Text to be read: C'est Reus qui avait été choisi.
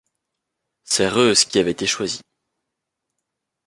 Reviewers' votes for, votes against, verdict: 2, 0, accepted